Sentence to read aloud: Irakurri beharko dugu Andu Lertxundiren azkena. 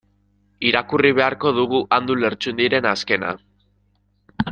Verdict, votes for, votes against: rejected, 2, 3